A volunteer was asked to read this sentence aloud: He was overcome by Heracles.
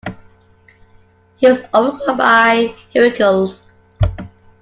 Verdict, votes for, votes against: accepted, 2, 1